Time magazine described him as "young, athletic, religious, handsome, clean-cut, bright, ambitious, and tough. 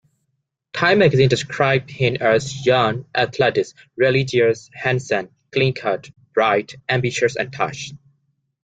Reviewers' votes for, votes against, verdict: 2, 1, accepted